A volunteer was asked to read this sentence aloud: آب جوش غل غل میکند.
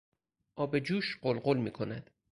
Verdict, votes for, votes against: accepted, 4, 0